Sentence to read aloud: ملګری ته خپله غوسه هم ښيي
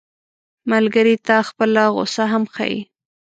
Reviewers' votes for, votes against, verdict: 2, 0, accepted